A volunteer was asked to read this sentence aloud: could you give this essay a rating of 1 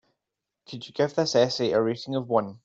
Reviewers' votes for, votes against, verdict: 0, 2, rejected